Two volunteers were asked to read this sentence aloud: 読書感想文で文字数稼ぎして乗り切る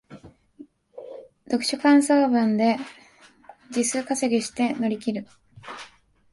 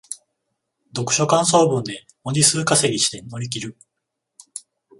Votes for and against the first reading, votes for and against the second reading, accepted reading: 0, 2, 14, 0, second